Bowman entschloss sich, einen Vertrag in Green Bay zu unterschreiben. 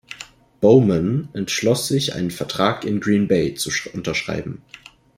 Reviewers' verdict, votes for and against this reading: rejected, 0, 2